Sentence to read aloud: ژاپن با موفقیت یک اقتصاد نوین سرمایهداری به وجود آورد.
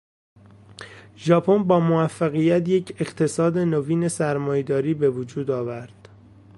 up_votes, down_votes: 2, 0